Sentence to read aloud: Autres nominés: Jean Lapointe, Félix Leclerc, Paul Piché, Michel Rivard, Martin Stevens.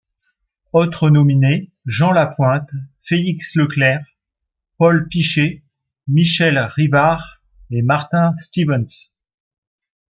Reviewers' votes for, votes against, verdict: 1, 2, rejected